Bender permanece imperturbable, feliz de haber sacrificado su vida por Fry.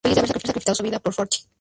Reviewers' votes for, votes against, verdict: 0, 4, rejected